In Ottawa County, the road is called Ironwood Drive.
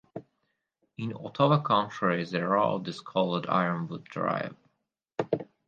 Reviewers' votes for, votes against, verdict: 4, 0, accepted